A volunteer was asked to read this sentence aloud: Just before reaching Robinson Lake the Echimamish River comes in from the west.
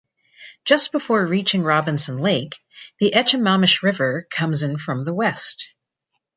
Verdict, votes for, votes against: accepted, 2, 0